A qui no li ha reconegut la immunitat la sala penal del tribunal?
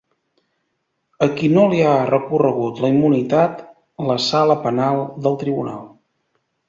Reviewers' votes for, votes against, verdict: 1, 2, rejected